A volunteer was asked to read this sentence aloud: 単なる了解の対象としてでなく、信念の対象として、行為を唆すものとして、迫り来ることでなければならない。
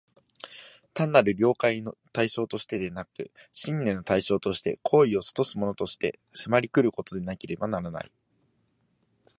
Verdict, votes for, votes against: rejected, 1, 2